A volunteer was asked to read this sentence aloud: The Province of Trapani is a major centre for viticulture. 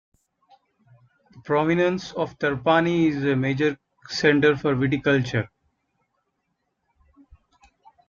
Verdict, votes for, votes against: rejected, 0, 3